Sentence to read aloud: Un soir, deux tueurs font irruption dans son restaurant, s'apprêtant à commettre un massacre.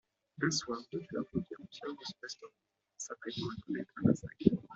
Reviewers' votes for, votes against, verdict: 0, 2, rejected